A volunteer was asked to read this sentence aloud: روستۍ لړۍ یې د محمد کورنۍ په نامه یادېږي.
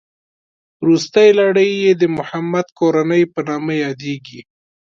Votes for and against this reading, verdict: 2, 0, accepted